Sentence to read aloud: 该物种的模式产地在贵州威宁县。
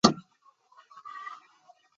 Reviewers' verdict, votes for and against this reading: rejected, 0, 2